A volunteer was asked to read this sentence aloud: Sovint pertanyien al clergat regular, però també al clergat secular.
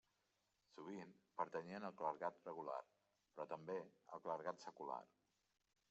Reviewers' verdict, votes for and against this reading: rejected, 1, 2